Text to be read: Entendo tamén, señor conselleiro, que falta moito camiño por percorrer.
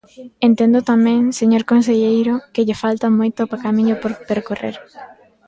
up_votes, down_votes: 0, 2